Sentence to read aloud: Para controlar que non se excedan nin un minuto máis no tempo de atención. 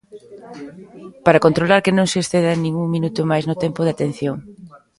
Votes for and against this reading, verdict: 2, 1, accepted